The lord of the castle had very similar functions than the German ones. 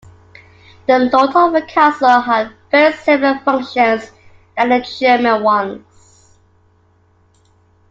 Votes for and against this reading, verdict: 2, 0, accepted